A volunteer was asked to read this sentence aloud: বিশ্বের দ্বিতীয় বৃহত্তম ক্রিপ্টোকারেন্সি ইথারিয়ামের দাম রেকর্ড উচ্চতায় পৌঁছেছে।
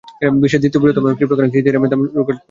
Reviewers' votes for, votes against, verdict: 0, 2, rejected